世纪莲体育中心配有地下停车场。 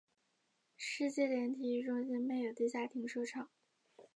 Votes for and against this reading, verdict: 5, 0, accepted